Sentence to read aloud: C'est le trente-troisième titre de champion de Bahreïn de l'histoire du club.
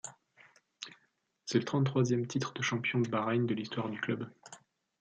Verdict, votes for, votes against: accepted, 2, 0